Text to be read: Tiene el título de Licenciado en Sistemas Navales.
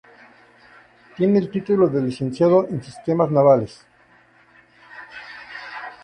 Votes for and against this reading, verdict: 2, 0, accepted